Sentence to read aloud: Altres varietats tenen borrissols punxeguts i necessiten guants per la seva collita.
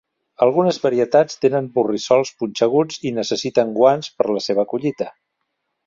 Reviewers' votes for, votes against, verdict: 0, 2, rejected